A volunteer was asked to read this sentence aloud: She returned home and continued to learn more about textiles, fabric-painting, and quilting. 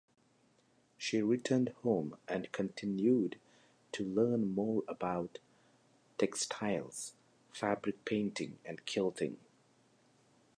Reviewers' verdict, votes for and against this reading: rejected, 1, 2